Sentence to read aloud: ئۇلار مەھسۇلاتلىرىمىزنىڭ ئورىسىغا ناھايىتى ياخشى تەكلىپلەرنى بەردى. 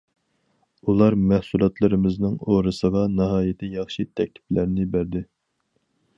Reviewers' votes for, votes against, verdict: 4, 0, accepted